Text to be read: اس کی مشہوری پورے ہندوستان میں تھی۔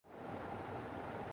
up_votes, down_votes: 3, 11